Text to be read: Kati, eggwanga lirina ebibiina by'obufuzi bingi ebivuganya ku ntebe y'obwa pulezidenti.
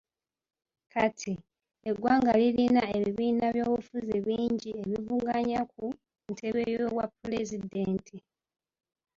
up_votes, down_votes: 1, 2